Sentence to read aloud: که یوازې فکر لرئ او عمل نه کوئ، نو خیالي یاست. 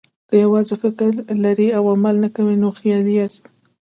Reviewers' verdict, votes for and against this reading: accepted, 2, 0